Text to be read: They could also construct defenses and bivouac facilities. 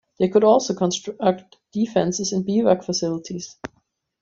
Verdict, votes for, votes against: accepted, 2, 0